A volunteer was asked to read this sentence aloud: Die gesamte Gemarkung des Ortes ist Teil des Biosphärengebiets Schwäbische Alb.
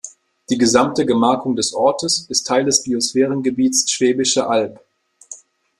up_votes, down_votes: 2, 0